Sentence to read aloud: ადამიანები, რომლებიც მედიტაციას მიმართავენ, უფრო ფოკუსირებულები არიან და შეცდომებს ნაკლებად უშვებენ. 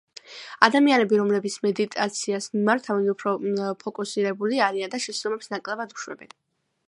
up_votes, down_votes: 2, 0